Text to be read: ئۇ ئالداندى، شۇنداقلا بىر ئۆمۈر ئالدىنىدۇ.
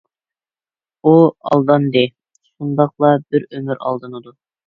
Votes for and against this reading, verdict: 2, 0, accepted